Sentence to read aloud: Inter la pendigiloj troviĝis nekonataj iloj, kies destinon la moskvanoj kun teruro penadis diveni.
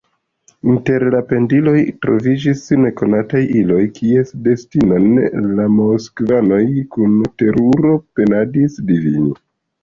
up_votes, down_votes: 0, 3